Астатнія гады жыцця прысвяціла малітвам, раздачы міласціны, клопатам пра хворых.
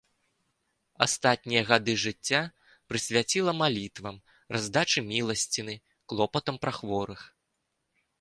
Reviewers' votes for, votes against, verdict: 2, 0, accepted